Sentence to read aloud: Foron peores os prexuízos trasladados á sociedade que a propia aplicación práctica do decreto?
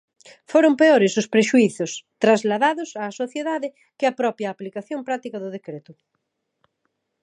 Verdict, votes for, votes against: accepted, 2, 0